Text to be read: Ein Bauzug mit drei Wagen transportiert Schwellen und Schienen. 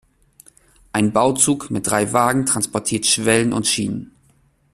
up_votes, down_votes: 2, 0